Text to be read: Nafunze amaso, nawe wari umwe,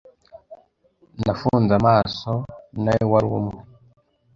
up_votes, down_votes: 2, 0